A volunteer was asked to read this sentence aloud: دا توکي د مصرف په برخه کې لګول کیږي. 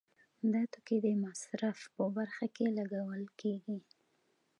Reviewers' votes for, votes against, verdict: 2, 1, accepted